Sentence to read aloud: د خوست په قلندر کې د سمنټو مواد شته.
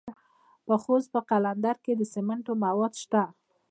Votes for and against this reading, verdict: 1, 2, rejected